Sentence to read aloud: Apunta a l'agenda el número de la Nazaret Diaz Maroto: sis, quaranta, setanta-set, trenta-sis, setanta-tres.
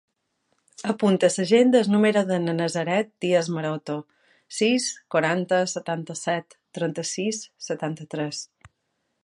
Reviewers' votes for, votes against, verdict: 0, 2, rejected